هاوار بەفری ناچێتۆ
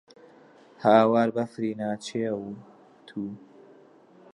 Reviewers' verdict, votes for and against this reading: rejected, 0, 2